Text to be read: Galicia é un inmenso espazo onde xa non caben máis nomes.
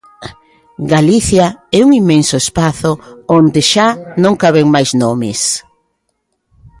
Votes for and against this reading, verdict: 2, 0, accepted